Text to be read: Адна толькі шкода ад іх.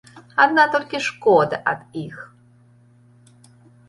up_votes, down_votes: 2, 1